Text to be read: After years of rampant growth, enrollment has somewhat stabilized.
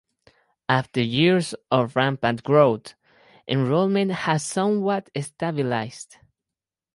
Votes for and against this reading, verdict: 2, 2, rejected